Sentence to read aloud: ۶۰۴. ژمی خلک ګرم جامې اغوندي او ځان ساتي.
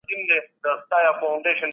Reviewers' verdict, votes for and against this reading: rejected, 0, 2